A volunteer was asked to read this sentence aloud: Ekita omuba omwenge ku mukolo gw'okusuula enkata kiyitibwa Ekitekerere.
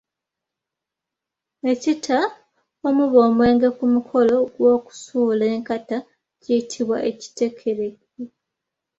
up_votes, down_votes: 1, 2